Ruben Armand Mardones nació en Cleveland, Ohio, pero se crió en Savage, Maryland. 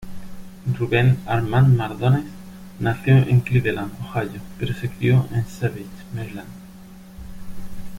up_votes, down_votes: 0, 2